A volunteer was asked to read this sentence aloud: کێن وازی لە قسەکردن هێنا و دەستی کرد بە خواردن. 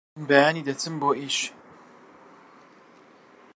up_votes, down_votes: 0, 2